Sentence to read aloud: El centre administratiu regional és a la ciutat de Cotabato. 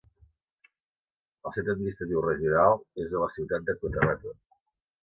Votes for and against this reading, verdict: 0, 2, rejected